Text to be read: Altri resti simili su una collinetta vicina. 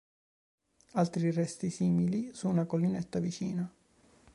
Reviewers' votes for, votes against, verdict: 2, 0, accepted